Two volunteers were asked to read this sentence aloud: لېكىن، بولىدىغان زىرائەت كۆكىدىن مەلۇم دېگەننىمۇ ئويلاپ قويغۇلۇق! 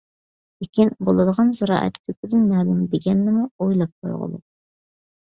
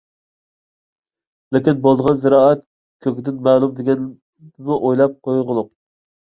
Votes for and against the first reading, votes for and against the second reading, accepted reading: 2, 0, 1, 2, first